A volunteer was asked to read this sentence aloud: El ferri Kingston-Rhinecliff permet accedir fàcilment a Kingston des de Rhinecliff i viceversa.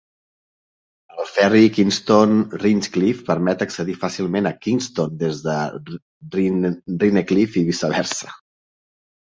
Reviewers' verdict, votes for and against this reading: rejected, 0, 2